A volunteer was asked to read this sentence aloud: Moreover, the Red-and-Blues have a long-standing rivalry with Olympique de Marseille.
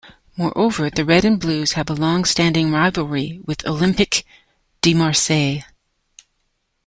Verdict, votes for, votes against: accepted, 2, 0